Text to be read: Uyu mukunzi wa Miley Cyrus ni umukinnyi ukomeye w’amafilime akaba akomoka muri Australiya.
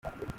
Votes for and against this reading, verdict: 0, 2, rejected